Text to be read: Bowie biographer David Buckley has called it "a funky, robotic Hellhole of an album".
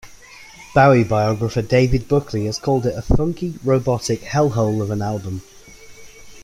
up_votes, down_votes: 2, 0